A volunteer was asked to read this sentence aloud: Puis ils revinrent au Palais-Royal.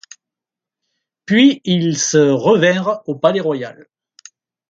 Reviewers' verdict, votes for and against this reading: rejected, 1, 2